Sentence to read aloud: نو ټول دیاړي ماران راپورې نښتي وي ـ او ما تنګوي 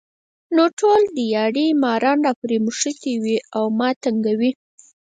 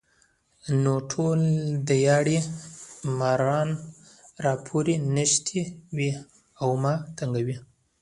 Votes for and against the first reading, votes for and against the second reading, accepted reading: 2, 4, 2, 1, second